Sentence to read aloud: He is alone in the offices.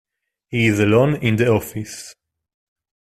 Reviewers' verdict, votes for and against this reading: rejected, 0, 2